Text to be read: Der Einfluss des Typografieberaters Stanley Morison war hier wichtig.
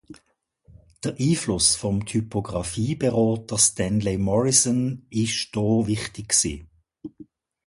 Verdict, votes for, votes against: rejected, 1, 2